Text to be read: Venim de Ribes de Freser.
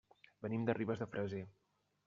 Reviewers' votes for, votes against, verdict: 1, 2, rejected